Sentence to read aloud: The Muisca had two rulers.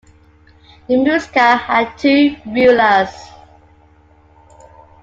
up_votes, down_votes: 2, 1